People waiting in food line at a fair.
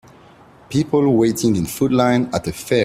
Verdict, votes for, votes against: rejected, 0, 2